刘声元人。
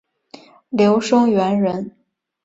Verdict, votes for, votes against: accepted, 3, 0